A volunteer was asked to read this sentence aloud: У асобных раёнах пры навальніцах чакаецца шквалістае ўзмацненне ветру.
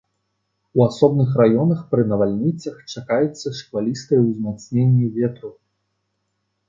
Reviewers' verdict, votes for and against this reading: rejected, 0, 2